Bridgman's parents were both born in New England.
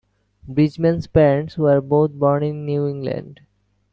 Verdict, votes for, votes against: accepted, 2, 0